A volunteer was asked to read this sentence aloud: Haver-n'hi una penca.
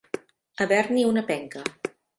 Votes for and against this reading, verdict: 2, 0, accepted